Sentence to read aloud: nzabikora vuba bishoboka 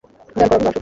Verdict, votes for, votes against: rejected, 1, 2